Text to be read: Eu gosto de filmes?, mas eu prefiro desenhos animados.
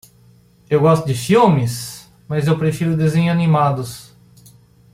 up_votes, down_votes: 0, 2